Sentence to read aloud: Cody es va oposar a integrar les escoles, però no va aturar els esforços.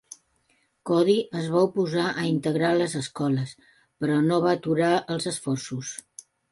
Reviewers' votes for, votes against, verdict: 3, 1, accepted